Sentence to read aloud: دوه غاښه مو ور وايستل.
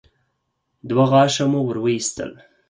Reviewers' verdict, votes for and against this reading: accepted, 4, 0